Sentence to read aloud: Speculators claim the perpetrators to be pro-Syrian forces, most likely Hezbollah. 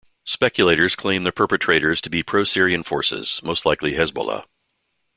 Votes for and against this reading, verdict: 2, 0, accepted